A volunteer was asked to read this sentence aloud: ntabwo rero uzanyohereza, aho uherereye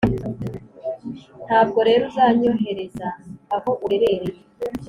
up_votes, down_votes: 3, 0